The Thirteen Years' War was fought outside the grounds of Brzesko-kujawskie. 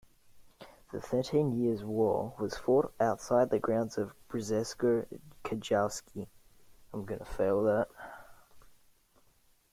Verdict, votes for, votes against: rejected, 0, 2